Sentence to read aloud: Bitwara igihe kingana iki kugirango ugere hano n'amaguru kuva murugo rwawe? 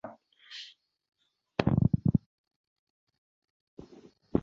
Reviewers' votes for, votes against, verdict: 0, 2, rejected